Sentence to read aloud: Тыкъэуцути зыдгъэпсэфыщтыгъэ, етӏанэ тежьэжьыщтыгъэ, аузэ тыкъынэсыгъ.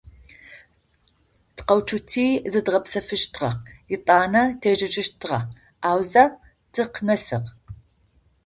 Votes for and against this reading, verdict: 2, 0, accepted